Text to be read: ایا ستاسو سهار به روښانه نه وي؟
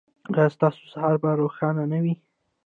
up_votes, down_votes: 2, 0